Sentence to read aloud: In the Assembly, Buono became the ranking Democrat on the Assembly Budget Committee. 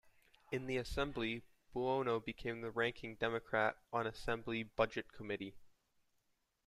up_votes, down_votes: 1, 2